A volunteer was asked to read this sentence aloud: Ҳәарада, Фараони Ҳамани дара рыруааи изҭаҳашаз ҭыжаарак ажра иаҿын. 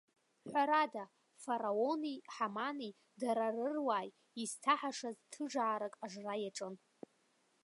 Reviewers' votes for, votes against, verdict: 3, 0, accepted